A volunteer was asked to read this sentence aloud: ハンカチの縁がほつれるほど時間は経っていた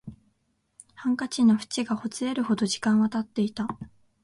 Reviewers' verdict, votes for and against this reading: accepted, 2, 0